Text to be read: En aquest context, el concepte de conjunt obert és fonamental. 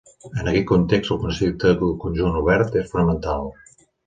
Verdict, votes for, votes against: rejected, 0, 2